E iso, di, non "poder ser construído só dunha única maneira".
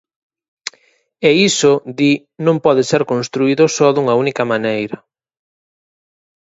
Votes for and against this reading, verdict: 2, 4, rejected